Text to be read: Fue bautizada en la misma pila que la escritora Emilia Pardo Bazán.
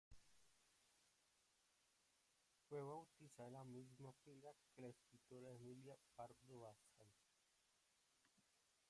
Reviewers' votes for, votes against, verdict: 1, 2, rejected